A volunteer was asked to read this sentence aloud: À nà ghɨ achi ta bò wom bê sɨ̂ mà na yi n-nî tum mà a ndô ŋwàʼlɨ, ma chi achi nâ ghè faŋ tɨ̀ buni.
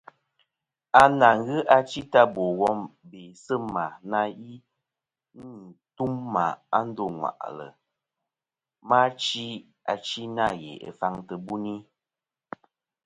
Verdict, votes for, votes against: accepted, 2, 0